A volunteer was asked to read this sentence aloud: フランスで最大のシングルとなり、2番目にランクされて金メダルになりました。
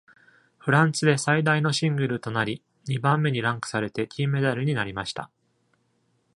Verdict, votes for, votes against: rejected, 0, 2